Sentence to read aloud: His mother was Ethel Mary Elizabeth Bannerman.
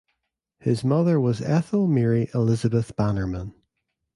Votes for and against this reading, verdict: 2, 0, accepted